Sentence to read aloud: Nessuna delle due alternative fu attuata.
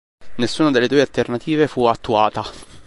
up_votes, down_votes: 3, 0